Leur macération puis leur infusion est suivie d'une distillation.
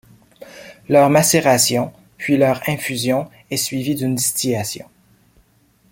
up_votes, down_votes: 2, 0